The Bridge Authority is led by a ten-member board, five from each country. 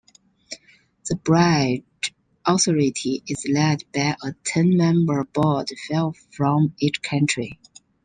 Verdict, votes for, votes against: rejected, 0, 2